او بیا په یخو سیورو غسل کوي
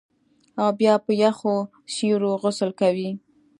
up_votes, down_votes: 2, 0